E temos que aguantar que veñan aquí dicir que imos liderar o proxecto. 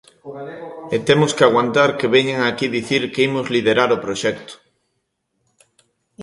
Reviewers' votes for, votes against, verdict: 2, 0, accepted